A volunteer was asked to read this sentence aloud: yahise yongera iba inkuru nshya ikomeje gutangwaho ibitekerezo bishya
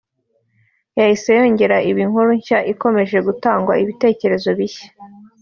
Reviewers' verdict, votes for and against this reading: rejected, 0, 2